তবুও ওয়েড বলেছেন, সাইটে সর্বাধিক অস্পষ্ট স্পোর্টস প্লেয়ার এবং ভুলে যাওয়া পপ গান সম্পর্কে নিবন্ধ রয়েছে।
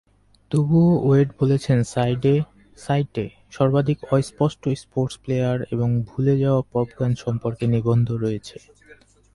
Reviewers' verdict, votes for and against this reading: rejected, 2, 2